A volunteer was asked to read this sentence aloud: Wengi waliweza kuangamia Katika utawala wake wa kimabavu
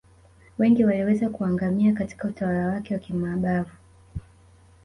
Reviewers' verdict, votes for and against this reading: accepted, 2, 0